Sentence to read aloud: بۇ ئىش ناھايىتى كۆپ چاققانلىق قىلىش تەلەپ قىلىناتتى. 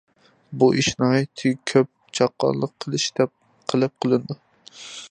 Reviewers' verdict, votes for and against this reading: rejected, 0, 2